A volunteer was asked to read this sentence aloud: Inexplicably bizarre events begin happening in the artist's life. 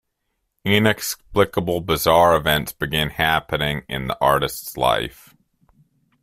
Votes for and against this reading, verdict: 1, 2, rejected